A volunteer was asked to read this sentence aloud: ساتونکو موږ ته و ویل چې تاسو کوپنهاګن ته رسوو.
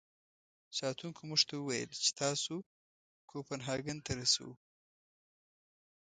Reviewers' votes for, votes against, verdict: 2, 0, accepted